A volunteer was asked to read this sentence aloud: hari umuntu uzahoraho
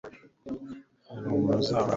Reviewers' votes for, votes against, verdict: 1, 2, rejected